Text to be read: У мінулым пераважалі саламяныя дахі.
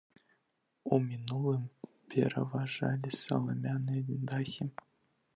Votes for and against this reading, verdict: 2, 1, accepted